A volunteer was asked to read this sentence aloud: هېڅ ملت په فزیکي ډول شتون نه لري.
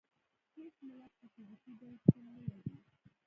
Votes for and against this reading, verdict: 0, 2, rejected